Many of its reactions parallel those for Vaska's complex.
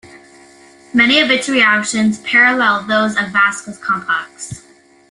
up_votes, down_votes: 0, 2